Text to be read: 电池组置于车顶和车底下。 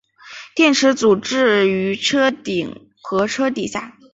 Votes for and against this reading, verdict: 6, 1, accepted